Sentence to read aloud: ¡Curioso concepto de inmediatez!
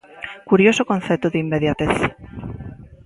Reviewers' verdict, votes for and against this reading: accepted, 2, 0